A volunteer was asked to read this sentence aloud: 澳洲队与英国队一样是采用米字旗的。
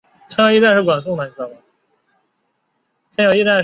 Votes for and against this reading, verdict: 0, 3, rejected